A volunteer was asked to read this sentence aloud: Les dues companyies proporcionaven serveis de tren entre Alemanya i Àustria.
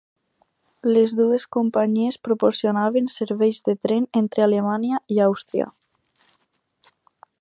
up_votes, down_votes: 2, 2